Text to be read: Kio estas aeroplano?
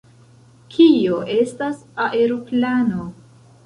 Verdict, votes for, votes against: accepted, 2, 0